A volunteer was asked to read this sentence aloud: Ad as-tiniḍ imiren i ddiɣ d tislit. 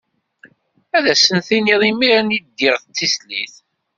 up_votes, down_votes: 1, 2